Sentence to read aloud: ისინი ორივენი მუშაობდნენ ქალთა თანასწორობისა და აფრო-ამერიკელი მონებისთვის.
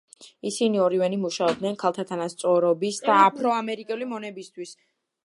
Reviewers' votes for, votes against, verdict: 2, 0, accepted